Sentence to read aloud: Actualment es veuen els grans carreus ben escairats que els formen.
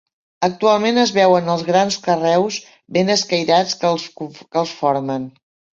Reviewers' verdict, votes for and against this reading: rejected, 0, 2